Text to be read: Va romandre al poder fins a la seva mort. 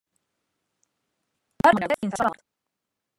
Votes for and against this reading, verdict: 0, 2, rejected